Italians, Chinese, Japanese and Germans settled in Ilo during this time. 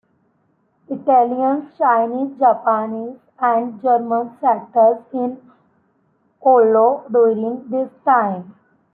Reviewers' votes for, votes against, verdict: 0, 2, rejected